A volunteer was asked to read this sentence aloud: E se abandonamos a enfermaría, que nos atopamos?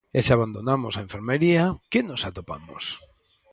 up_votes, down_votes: 4, 0